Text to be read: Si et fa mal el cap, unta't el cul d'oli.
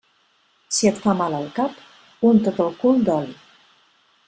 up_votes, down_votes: 2, 0